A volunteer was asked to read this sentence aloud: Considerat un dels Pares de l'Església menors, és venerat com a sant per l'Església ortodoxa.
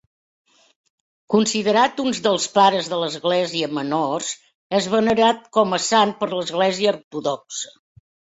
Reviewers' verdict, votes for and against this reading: rejected, 0, 2